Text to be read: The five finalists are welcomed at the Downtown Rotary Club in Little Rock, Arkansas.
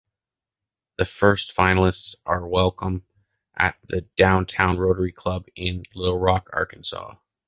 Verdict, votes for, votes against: rejected, 0, 2